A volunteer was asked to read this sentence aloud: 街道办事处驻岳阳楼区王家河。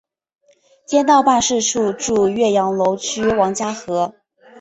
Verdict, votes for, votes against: accepted, 2, 0